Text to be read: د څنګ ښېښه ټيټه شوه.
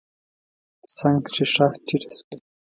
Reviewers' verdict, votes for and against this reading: rejected, 1, 2